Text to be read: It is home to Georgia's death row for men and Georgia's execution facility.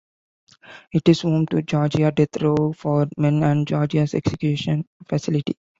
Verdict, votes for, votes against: accepted, 2, 0